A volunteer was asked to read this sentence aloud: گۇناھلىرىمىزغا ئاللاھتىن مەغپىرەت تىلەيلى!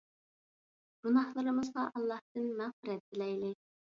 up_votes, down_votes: 1, 2